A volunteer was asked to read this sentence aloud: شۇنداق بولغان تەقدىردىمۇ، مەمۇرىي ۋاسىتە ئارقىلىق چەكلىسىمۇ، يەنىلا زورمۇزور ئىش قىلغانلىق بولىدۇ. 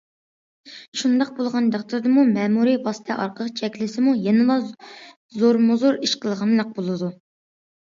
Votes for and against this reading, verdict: 2, 0, accepted